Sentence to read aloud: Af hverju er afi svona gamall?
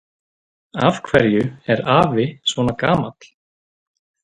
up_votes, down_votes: 0, 2